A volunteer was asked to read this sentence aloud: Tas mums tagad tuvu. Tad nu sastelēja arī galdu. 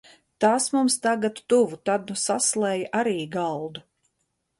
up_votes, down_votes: 1, 2